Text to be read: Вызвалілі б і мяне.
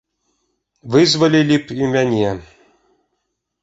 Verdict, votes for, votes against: accepted, 2, 0